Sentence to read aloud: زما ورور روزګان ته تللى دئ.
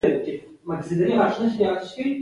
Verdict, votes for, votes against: accepted, 2, 1